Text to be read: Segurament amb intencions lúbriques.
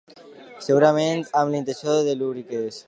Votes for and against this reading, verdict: 1, 2, rejected